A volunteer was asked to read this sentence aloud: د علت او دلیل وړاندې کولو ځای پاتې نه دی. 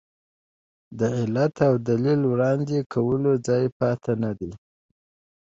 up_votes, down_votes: 2, 0